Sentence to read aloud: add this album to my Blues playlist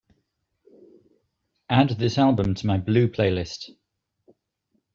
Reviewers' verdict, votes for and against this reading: rejected, 0, 2